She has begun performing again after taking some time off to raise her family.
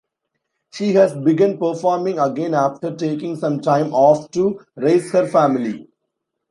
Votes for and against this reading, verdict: 2, 0, accepted